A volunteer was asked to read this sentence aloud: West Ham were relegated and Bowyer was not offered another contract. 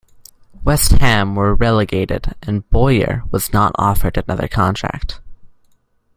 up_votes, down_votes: 2, 0